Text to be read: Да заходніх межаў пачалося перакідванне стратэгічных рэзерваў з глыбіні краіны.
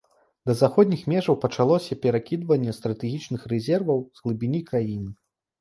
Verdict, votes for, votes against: accepted, 2, 0